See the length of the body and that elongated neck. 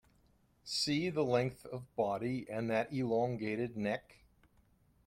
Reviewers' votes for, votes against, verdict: 0, 2, rejected